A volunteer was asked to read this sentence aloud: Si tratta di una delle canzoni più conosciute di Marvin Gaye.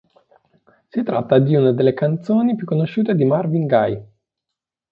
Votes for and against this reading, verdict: 2, 1, accepted